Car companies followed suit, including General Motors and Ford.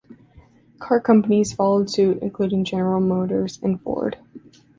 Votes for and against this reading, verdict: 2, 0, accepted